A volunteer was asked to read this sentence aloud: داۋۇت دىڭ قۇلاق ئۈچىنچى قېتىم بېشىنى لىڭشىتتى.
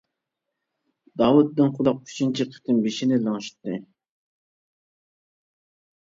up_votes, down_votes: 2, 0